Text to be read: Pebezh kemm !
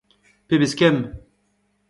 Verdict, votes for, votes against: accepted, 2, 0